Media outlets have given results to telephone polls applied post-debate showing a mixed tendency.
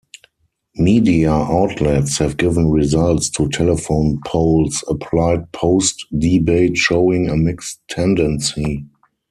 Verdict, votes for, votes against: accepted, 4, 0